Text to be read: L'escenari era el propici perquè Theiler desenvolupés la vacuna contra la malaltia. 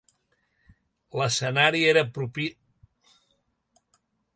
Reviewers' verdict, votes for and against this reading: rejected, 0, 2